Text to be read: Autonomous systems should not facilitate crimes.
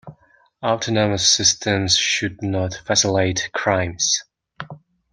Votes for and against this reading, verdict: 1, 2, rejected